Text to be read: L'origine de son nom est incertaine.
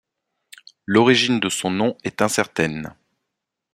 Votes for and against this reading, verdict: 2, 0, accepted